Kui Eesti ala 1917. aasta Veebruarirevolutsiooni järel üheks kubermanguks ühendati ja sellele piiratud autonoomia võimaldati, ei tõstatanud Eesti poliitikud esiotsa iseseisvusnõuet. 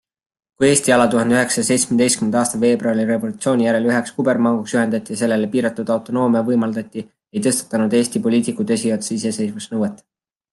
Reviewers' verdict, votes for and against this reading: rejected, 0, 2